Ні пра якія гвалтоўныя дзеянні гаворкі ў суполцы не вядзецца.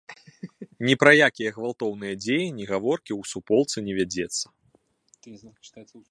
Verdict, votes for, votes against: rejected, 1, 2